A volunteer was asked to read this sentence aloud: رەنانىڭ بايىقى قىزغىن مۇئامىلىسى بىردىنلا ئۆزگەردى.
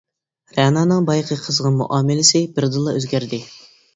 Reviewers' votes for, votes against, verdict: 2, 0, accepted